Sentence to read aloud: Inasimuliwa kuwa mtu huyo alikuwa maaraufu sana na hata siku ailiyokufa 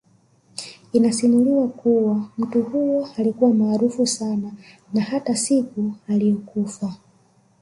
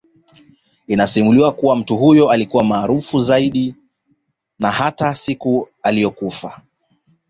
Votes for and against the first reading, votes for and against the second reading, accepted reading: 3, 1, 1, 2, first